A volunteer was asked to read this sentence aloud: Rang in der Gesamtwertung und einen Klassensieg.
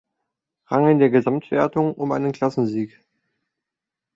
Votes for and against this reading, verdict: 0, 2, rejected